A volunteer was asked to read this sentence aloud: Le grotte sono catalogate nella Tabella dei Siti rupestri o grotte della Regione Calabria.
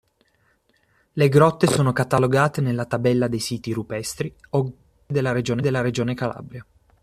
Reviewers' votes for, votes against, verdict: 0, 2, rejected